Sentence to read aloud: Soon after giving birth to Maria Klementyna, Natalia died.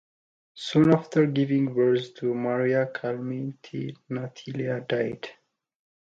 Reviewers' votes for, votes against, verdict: 0, 2, rejected